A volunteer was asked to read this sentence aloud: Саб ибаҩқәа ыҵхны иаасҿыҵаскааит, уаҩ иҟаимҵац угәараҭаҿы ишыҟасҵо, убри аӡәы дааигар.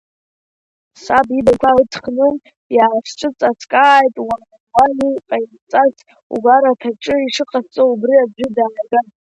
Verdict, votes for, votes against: rejected, 0, 2